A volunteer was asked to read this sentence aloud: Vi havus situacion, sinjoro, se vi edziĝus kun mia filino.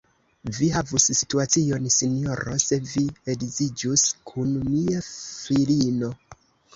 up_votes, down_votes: 2, 1